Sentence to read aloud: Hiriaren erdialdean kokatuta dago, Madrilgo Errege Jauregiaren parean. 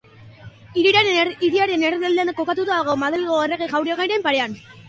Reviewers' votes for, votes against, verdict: 0, 2, rejected